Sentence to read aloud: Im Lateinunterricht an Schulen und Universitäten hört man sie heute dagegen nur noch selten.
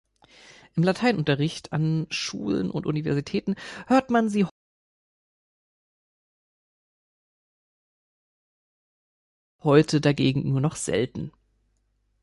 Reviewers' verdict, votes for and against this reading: rejected, 0, 2